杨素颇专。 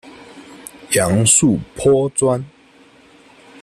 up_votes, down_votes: 2, 0